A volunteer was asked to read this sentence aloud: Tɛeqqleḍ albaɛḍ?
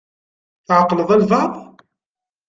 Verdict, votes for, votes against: accepted, 2, 0